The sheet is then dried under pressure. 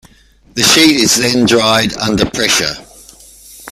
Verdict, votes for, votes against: accepted, 2, 0